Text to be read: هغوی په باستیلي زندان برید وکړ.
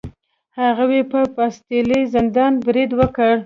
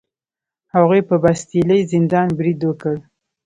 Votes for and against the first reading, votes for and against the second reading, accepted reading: 1, 2, 3, 0, second